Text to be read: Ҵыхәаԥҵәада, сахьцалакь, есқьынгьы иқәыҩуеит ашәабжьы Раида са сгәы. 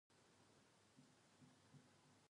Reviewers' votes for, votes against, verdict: 0, 2, rejected